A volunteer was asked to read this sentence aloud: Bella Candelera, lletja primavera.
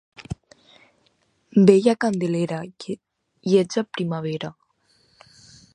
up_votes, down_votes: 0, 4